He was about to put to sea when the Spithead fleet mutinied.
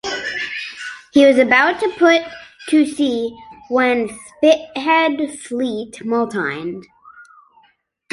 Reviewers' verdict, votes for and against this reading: rejected, 0, 2